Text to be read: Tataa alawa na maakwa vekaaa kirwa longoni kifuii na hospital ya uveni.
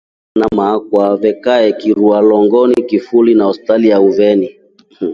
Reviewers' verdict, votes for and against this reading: rejected, 0, 2